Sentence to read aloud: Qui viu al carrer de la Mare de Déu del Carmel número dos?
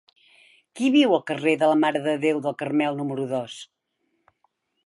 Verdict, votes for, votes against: accepted, 3, 0